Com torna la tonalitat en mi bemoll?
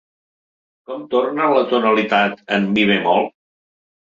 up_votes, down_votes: 1, 2